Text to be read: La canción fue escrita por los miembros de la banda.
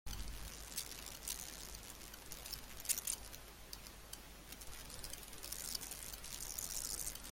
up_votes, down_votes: 0, 2